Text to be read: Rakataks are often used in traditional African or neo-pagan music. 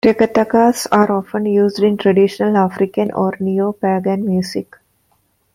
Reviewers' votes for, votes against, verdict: 1, 2, rejected